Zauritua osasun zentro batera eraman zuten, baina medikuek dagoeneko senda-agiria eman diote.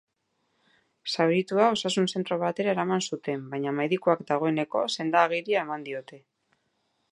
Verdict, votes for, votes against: rejected, 0, 2